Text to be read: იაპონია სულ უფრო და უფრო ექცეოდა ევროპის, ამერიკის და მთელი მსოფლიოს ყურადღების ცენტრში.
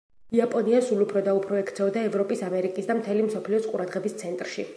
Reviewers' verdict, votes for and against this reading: accepted, 2, 0